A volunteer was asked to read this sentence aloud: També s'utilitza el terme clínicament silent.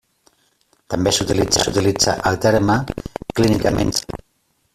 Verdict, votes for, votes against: rejected, 0, 2